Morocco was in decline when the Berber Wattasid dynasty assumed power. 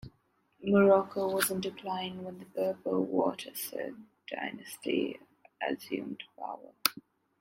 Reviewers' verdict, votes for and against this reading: accepted, 2, 0